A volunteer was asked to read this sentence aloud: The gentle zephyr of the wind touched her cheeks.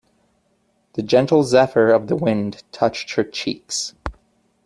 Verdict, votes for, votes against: accepted, 2, 0